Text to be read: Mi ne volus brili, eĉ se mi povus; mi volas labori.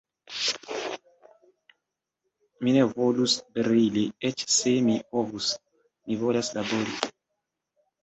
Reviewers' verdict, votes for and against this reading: accepted, 2, 0